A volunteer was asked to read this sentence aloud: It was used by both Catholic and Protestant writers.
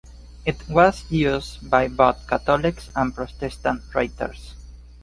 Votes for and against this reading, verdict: 1, 2, rejected